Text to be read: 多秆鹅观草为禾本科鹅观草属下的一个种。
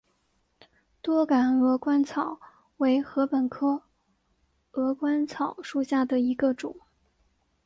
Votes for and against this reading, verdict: 7, 0, accepted